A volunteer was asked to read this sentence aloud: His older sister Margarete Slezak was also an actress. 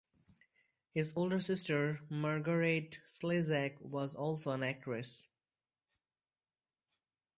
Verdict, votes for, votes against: accepted, 4, 0